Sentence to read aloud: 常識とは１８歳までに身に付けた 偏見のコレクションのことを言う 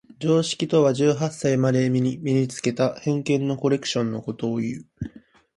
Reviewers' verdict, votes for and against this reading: rejected, 0, 2